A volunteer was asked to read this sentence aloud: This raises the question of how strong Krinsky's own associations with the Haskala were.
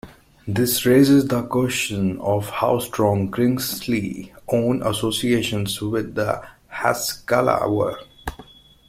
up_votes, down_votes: 1, 2